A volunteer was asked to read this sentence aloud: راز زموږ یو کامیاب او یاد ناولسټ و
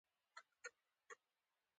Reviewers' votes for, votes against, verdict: 1, 2, rejected